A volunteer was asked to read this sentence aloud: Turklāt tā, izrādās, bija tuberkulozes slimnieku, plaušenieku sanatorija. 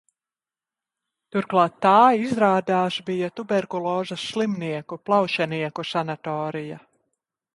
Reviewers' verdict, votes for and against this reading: accepted, 2, 0